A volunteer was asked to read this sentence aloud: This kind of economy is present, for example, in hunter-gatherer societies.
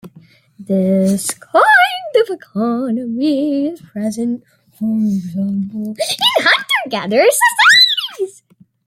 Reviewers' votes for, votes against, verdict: 0, 2, rejected